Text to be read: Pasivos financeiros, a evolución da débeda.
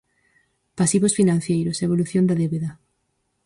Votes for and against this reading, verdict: 0, 4, rejected